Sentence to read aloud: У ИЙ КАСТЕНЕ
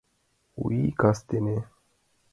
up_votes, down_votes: 2, 0